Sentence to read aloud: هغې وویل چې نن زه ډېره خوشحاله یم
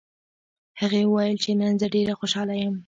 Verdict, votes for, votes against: accepted, 2, 1